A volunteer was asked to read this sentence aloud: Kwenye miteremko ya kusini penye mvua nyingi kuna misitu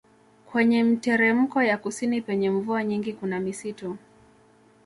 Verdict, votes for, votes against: rejected, 0, 2